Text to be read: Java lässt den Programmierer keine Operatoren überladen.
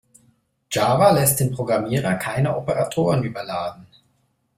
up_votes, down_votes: 2, 0